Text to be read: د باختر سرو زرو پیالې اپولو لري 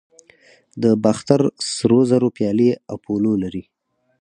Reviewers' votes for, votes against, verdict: 4, 0, accepted